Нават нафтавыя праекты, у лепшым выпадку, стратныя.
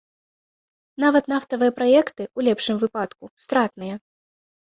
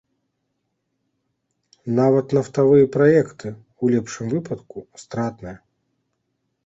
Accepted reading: first